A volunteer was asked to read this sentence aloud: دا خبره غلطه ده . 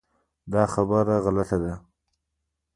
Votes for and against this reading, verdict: 1, 2, rejected